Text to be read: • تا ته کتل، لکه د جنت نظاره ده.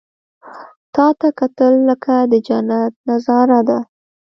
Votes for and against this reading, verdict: 2, 0, accepted